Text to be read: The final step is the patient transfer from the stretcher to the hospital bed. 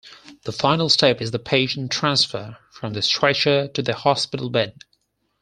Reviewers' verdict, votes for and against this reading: accepted, 4, 0